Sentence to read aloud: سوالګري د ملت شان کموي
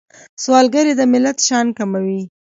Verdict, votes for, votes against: accepted, 3, 0